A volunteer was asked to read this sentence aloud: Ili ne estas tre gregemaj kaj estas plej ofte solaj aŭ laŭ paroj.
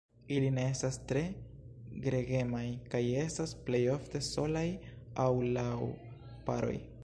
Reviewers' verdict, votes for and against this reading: rejected, 0, 2